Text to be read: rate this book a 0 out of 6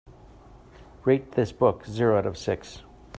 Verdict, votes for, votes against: rejected, 0, 2